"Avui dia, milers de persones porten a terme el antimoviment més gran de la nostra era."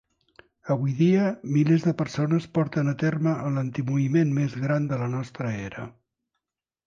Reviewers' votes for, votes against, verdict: 2, 1, accepted